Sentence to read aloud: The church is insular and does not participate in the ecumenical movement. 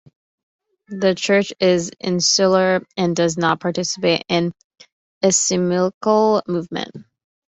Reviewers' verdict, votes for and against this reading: rejected, 0, 2